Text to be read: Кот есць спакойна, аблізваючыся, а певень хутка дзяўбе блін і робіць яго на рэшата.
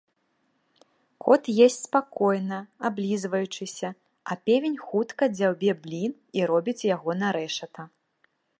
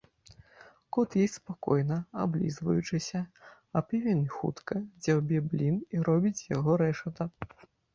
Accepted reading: first